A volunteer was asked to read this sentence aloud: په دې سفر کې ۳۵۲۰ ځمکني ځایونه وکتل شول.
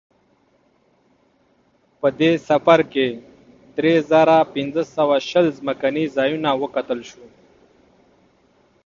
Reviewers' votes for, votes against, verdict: 0, 2, rejected